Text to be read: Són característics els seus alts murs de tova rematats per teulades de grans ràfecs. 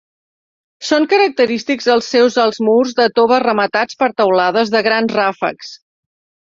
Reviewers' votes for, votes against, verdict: 6, 0, accepted